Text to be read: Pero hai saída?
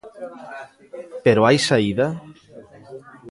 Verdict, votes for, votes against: accepted, 2, 0